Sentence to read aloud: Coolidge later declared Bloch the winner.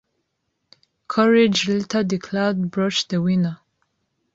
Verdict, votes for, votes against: rejected, 1, 2